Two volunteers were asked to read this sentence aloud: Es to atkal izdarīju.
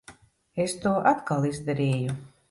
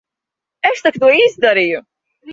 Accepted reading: first